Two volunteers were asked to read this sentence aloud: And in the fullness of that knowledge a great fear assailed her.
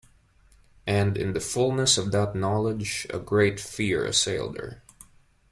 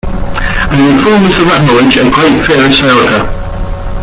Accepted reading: first